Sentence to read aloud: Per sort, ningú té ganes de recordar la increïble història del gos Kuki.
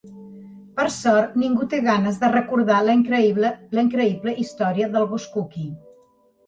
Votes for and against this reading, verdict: 1, 2, rejected